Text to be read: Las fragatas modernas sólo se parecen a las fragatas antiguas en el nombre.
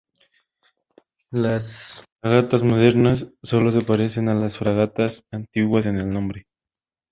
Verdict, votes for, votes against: accepted, 2, 0